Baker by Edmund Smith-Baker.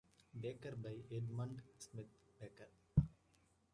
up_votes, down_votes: 0, 2